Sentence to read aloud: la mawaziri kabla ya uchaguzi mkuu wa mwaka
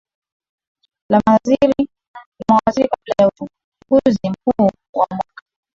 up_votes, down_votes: 2, 2